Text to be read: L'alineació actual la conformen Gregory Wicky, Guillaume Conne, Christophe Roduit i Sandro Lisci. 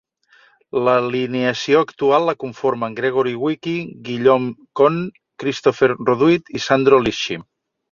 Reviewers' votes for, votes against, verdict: 2, 0, accepted